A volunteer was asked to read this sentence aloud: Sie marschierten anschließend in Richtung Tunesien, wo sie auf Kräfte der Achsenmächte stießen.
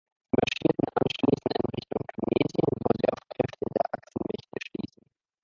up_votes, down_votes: 1, 2